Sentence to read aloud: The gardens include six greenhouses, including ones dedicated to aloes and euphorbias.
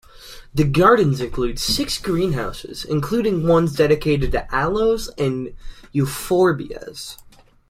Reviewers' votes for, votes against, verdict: 2, 0, accepted